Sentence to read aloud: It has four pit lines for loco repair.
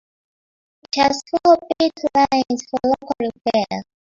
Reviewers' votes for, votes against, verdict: 0, 3, rejected